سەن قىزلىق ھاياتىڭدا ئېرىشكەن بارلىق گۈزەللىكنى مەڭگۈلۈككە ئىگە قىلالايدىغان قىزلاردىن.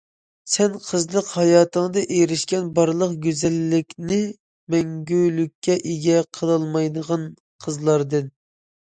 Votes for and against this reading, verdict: 2, 1, accepted